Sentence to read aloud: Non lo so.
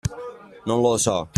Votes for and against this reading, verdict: 2, 0, accepted